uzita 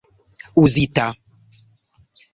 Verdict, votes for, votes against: accepted, 2, 1